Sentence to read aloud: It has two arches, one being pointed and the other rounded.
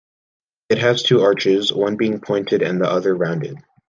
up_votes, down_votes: 2, 0